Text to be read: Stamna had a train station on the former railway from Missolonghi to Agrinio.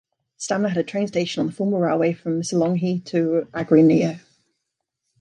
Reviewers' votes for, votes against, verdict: 2, 0, accepted